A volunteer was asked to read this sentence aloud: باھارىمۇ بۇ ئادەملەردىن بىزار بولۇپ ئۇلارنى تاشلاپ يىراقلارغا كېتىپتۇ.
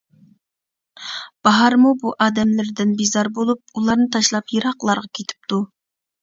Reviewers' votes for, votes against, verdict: 1, 2, rejected